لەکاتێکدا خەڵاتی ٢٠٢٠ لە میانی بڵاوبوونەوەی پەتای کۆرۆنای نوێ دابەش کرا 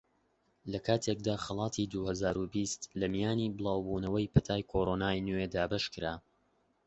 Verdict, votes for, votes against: rejected, 0, 2